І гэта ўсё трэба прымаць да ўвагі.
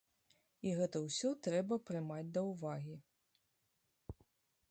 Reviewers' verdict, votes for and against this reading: accepted, 2, 0